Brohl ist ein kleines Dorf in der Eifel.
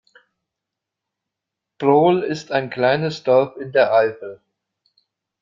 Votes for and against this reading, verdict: 2, 0, accepted